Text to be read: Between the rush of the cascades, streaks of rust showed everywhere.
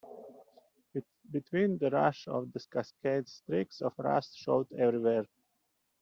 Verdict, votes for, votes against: rejected, 1, 2